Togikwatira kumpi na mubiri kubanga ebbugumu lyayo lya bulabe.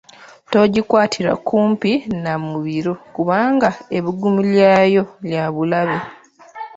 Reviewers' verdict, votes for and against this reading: rejected, 0, 2